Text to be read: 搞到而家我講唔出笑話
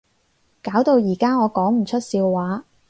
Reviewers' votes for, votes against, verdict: 4, 0, accepted